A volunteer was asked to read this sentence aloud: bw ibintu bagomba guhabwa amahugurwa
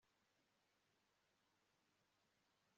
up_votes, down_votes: 1, 2